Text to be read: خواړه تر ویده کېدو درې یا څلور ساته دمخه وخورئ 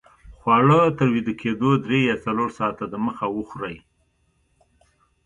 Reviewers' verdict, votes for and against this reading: accepted, 2, 0